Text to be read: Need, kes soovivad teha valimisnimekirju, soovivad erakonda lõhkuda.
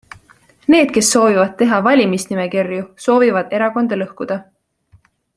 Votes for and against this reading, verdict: 2, 0, accepted